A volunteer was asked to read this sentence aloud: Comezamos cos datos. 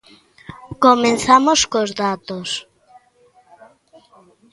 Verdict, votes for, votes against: rejected, 0, 2